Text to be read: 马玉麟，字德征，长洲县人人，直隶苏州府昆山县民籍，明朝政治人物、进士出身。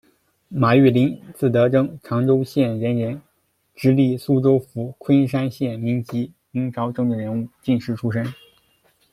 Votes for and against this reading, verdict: 2, 0, accepted